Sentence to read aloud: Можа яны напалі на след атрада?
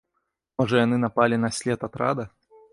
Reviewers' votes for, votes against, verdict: 2, 0, accepted